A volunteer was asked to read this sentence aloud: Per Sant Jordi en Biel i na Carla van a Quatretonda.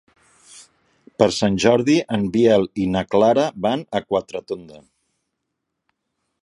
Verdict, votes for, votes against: rejected, 0, 2